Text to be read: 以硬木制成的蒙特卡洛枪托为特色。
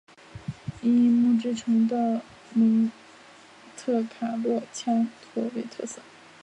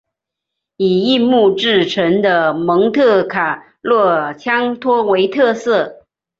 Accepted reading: second